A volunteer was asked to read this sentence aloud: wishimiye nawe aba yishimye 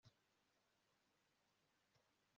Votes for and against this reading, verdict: 0, 2, rejected